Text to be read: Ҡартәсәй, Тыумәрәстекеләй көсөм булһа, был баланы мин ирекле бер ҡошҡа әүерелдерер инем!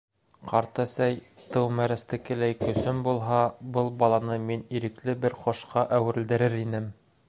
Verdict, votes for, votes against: accepted, 2, 0